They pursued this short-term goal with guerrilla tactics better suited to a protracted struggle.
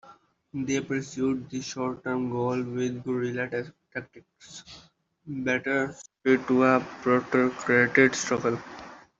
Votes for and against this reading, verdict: 0, 2, rejected